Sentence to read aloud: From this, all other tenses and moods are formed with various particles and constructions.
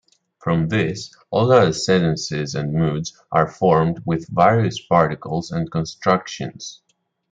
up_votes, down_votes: 0, 2